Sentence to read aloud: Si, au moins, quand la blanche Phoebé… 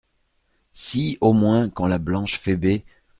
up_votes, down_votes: 2, 0